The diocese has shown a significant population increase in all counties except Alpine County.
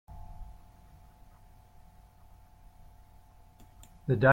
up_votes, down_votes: 0, 2